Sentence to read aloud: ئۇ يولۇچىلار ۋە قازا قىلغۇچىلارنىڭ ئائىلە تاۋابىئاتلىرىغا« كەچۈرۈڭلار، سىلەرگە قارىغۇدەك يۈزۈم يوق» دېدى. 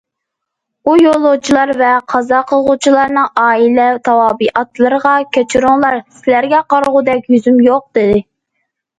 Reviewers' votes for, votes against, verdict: 2, 0, accepted